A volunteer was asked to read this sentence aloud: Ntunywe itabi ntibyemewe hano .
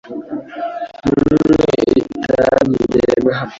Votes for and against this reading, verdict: 0, 2, rejected